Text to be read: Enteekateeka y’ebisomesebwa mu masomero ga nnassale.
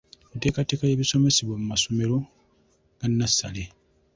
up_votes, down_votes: 2, 0